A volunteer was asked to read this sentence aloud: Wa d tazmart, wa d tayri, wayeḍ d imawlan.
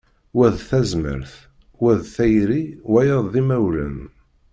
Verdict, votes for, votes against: accepted, 2, 0